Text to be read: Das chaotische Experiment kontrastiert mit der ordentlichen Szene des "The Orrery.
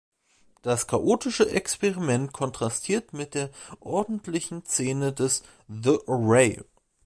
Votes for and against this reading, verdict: 0, 2, rejected